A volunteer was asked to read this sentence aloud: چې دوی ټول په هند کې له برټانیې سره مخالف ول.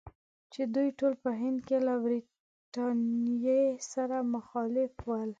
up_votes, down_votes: 4, 0